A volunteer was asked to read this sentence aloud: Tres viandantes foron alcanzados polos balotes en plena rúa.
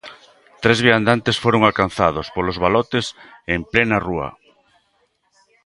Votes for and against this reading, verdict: 3, 0, accepted